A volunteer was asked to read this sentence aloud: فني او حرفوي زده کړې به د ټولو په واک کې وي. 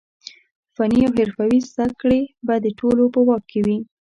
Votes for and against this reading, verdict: 2, 0, accepted